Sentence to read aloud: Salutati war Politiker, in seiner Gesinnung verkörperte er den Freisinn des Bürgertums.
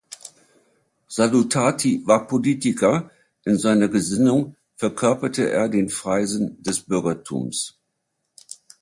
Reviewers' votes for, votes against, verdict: 2, 0, accepted